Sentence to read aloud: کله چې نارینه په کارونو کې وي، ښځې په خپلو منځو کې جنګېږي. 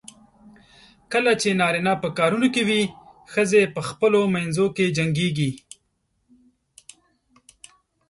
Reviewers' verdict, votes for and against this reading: accepted, 2, 0